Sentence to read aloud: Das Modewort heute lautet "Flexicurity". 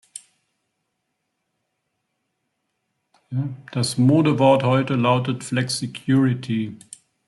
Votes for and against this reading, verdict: 2, 1, accepted